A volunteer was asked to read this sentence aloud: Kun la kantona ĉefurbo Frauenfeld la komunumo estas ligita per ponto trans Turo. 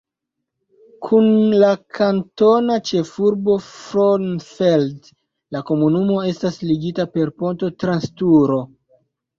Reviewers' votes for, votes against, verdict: 0, 2, rejected